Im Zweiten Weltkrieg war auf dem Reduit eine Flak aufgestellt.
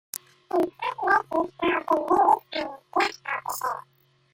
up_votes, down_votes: 0, 2